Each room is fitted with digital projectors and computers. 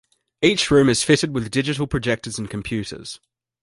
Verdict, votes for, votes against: accepted, 2, 0